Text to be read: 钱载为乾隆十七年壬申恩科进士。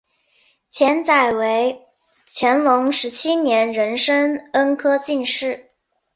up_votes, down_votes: 4, 0